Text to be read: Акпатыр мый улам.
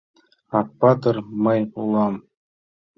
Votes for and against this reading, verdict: 2, 0, accepted